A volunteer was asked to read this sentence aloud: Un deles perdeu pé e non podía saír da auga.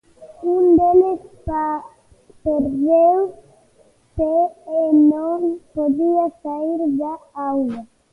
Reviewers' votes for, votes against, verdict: 0, 2, rejected